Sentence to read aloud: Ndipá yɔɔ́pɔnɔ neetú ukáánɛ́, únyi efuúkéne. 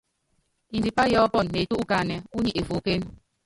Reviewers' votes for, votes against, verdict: 1, 2, rejected